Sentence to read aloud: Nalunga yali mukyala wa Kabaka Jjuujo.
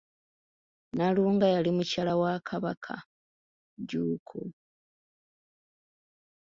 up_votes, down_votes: 1, 2